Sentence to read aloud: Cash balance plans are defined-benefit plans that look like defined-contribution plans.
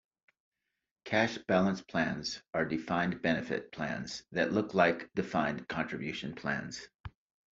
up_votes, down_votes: 2, 0